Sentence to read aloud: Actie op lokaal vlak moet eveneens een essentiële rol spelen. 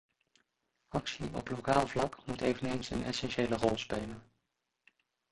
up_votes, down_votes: 0, 2